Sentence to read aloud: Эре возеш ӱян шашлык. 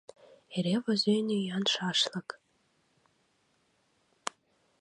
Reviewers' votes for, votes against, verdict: 0, 2, rejected